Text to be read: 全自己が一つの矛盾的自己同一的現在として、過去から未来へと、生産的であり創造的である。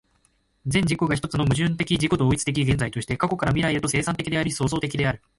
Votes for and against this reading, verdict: 2, 1, accepted